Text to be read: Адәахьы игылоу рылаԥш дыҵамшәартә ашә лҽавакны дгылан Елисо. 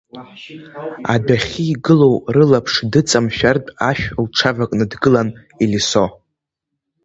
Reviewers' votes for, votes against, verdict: 0, 2, rejected